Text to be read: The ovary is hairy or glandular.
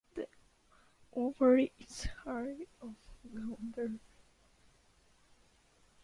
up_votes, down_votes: 1, 2